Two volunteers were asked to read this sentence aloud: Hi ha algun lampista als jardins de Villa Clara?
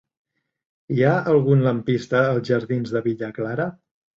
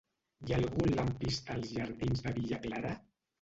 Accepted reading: first